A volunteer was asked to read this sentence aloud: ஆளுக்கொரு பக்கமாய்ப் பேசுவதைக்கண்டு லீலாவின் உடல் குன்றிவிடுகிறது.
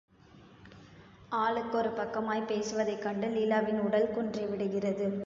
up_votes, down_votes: 1, 2